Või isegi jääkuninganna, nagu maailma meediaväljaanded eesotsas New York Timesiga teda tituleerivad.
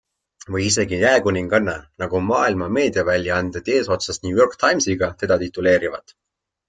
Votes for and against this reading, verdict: 2, 0, accepted